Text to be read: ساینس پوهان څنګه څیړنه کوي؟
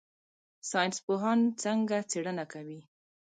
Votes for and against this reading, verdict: 0, 2, rejected